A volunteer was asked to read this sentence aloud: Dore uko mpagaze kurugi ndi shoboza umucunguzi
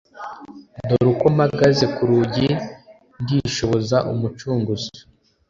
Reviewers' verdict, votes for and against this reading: accepted, 2, 0